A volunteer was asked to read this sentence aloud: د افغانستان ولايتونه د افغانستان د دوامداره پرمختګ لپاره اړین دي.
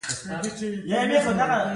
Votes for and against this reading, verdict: 0, 2, rejected